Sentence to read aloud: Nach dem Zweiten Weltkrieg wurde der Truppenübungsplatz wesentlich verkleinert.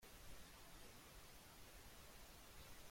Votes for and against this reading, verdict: 0, 2, rejected